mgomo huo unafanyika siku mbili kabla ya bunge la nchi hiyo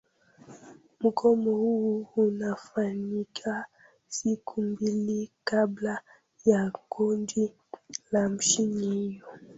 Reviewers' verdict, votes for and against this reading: rejected, 1, 2